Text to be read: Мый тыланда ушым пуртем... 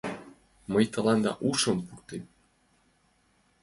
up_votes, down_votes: 2, 1